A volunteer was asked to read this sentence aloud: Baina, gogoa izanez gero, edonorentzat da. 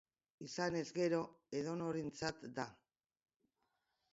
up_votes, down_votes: 2, 4